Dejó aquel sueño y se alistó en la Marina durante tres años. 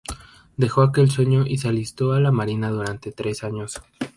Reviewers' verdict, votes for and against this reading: rejected, 2, 2